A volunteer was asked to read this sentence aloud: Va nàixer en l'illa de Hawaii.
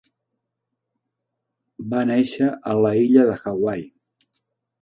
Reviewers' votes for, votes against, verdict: 1, 2, rejected